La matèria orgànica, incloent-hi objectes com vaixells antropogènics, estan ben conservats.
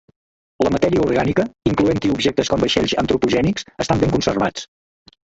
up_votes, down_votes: 0, 2